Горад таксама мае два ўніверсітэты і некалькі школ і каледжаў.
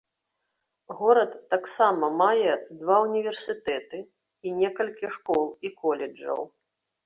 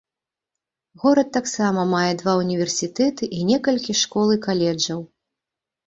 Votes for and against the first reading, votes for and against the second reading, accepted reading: 0, 2, 2, 0, second